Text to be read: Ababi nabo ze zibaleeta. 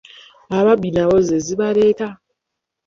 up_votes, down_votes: 0, 2